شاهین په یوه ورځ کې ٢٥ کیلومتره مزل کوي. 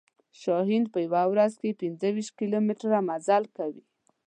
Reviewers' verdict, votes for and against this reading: rejected, 0, 2